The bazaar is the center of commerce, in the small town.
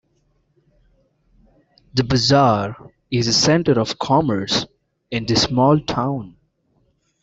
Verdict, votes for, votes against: accepted, 2, 0